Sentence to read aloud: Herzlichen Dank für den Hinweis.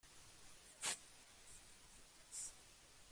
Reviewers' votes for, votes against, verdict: 0, 2, rejected